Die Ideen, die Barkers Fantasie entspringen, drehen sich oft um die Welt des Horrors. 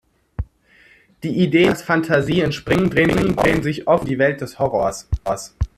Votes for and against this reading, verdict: 0, 2, rejected